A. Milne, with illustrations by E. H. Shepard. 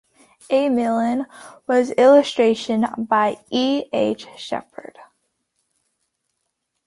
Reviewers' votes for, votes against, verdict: 0, 2, rejected